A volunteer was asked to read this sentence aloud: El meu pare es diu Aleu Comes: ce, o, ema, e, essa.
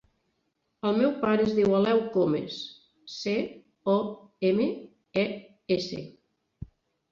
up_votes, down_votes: 1, 2